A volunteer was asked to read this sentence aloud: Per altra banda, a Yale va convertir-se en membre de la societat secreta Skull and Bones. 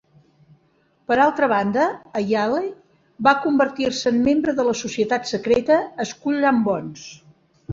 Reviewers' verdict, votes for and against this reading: accepted, 2, 0